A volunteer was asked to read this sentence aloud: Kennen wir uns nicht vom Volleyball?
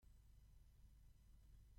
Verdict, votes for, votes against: rejected, 0, 2